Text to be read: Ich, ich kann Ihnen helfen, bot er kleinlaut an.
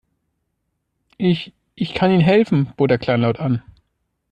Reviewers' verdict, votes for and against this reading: accepted, 2, 0